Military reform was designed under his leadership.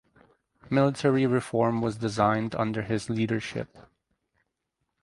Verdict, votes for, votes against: accepted, 4, 0